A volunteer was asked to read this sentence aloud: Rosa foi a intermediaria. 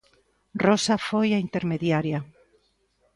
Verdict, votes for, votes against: accepted, 2, 0